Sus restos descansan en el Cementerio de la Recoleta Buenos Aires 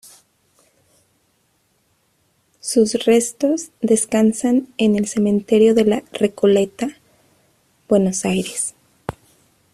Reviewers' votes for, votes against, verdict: 2, 0, accepted